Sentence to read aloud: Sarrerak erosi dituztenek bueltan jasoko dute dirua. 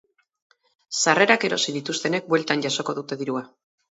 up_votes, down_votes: 6, 0